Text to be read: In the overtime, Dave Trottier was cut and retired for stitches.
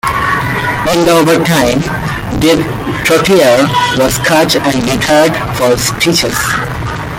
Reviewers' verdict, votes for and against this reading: accepted, 2, 0